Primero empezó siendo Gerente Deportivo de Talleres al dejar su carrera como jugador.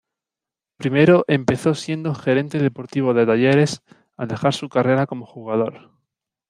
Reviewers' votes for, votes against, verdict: 2, 0, accepted